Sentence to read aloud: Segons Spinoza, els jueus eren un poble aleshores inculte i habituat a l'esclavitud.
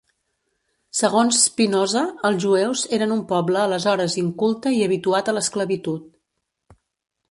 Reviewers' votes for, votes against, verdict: 2, 0, accepted